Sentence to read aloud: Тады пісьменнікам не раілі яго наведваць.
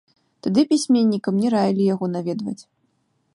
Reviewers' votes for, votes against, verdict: 2, 0, accepted